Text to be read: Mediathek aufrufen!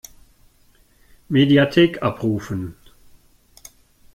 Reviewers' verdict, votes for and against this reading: rejected, 0, 2